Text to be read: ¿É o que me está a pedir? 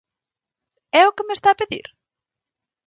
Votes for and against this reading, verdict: 4, 0, accepted